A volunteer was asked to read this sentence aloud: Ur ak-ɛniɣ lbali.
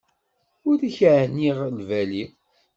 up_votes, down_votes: 2, 0